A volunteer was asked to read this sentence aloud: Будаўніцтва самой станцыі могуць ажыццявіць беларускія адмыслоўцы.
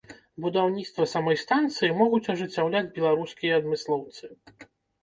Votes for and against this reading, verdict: 2, 3, rejected